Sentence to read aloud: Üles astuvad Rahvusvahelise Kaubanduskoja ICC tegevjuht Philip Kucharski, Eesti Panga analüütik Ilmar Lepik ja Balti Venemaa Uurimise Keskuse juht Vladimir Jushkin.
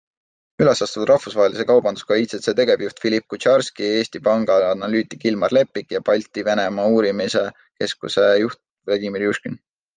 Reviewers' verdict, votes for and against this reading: accepted, 2, 0